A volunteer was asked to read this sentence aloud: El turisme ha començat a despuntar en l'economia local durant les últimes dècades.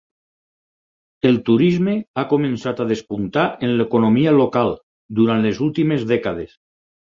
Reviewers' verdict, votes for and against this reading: accepted, 4, 0